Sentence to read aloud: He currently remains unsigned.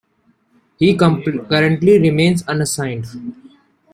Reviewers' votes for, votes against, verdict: 0, 2, rejected